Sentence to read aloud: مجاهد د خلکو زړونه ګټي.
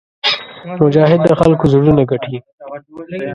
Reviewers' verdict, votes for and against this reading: accepted, 2, 0